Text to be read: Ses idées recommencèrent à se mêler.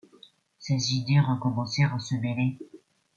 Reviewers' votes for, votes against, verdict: 2, 0, accepted